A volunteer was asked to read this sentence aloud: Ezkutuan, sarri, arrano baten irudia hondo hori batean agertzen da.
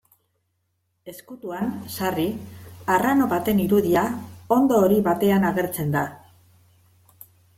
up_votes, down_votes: 3, 1